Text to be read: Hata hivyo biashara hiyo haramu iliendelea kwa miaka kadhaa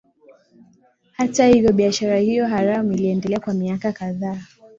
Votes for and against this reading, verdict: 2, 0, accepted